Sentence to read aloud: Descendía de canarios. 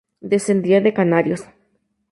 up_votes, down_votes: 0, 2